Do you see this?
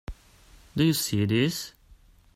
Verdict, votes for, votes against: rejected, 0, 2